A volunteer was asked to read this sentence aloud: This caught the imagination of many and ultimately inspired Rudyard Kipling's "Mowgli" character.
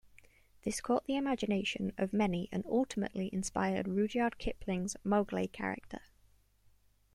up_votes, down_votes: 1, 2